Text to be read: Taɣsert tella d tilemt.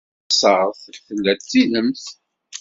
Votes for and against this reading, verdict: 1, 2, rejected